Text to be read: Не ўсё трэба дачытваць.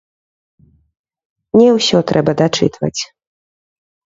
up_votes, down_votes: 0, 2